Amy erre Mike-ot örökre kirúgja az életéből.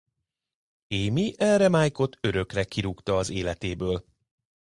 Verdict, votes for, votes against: rejected, 0, 2